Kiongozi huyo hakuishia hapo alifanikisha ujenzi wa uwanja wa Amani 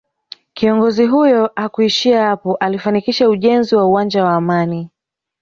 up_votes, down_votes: 3, 0